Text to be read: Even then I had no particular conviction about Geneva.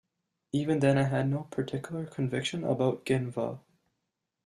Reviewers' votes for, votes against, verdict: 2, 0, accepted